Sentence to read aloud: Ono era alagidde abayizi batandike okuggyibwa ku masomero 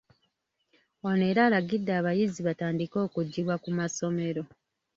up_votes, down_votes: 3, 0